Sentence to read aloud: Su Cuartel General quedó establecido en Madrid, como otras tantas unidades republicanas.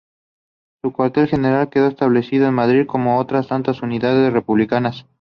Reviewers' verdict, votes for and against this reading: accepted, 2, 0